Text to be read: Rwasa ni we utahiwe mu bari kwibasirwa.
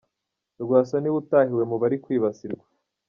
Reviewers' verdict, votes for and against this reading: accepted, 2, 0